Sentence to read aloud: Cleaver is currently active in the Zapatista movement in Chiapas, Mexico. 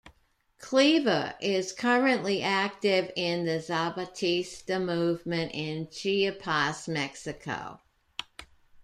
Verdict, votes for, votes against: rejected, 1, 2